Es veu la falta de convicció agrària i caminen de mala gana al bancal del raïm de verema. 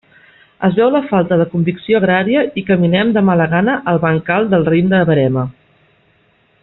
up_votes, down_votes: 1, 2